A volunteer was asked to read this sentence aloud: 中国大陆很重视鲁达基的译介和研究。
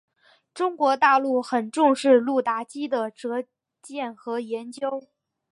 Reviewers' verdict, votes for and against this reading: rejected, 1, 3